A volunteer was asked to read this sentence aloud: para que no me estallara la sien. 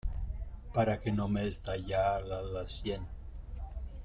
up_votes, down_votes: 1, 2